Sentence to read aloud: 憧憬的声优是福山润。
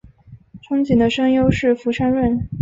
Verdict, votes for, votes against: accepted, 3, 0